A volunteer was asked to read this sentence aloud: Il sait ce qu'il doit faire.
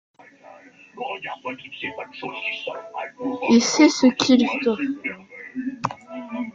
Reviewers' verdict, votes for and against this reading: rejected, 0, 2